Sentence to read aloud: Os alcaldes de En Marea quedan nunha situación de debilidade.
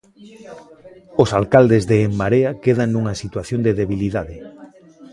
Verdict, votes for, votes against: rejected, 0, 2